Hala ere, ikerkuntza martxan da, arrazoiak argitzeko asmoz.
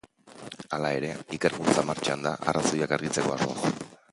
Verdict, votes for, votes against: rejected, 1, 2